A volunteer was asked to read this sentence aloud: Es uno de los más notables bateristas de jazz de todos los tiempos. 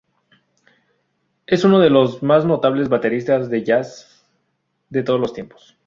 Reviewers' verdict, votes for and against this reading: accepted, 2, 0